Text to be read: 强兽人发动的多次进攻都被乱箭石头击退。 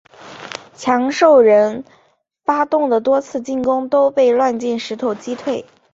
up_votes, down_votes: 2, 0